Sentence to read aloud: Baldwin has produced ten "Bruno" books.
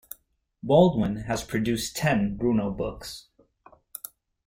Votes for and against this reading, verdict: 3, 0, accepted